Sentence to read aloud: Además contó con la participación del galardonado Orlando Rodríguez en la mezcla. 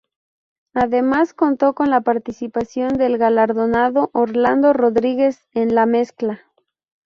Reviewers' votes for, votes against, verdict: 2, 0, accepted